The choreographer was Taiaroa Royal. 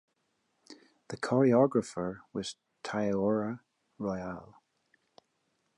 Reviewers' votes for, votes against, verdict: 0, 2, rejected